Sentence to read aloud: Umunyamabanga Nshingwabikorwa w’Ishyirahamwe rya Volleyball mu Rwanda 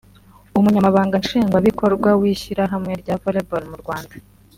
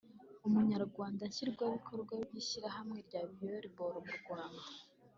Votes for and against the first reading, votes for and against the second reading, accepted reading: 3, 0, 1, 2, first